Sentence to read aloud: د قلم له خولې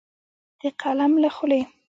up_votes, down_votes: 2, 1